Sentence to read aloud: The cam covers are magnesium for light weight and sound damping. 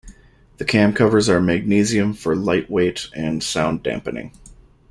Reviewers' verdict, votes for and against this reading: rejected, 1, 2